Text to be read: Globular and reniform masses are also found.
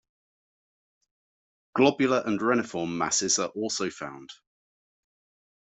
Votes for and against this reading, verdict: 2, 0, accepted